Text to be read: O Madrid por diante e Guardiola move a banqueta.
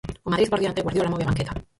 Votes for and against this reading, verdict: 0, 4, rejected